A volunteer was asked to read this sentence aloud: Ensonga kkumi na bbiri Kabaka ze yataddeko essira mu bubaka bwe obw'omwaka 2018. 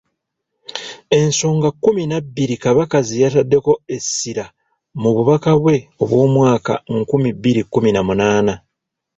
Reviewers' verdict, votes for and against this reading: rejected, 0, 2